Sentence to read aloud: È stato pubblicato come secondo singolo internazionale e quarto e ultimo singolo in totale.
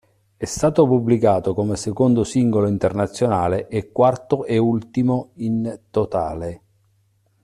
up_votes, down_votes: 0, 2